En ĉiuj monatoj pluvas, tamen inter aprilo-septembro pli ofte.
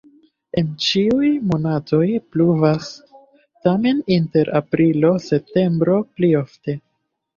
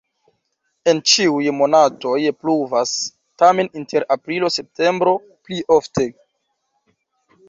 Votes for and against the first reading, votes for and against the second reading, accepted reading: 2, 0, 1, 2, first